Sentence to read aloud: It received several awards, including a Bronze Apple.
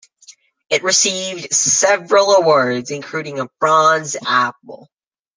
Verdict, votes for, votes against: accepted, 2, 0